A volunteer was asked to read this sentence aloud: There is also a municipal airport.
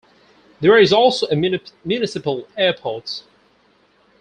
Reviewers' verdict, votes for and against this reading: rejected, 2, 4